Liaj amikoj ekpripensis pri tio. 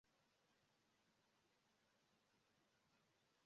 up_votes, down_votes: 0, 2